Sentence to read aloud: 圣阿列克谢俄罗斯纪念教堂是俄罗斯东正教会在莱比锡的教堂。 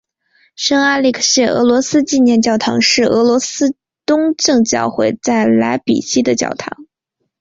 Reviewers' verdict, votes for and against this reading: accepted, 3, 0